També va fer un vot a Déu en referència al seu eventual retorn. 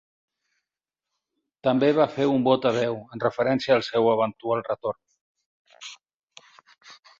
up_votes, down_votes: 6, 0